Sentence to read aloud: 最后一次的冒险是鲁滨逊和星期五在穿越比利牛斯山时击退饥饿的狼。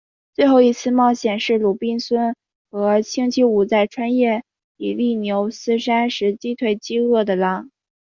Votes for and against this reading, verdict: 2, 1, accepted